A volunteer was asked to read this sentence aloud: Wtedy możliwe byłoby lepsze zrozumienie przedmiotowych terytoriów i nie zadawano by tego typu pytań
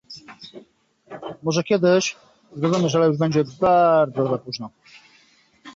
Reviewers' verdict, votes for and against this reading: rejected, 0, 2